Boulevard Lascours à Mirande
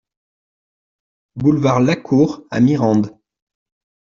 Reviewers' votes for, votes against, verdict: 2, 1, accepted